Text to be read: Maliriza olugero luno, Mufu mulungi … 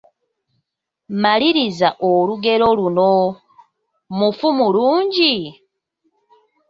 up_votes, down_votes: 2, 0